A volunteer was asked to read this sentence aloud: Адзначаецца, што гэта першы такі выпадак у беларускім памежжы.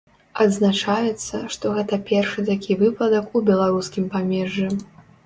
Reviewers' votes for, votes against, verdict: 2, 0, accepted